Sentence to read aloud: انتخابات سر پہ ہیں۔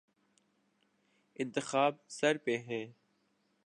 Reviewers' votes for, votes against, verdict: 1, 2, rejected